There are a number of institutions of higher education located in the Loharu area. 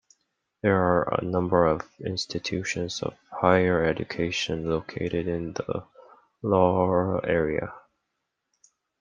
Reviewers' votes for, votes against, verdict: 1, 2, rejected